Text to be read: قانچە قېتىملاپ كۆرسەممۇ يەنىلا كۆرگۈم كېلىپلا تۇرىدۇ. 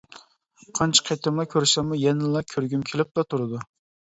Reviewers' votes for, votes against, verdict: 1, 2, rejected